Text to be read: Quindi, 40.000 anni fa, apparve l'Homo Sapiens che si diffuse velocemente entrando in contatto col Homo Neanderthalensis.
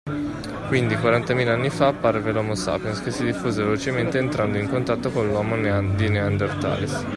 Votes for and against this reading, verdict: 0, 2, rejected